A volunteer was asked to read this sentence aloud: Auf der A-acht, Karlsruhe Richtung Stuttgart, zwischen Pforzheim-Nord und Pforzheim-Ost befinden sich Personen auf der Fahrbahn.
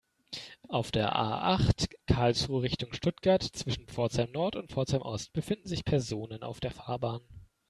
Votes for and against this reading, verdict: 2, 0, accepted